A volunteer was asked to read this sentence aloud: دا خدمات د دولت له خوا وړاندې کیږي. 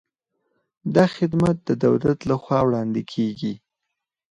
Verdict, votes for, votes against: accepted, 4, 2